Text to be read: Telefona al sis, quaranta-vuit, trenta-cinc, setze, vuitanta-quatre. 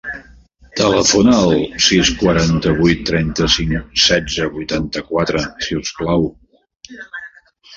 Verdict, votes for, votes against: rejected, 0, 2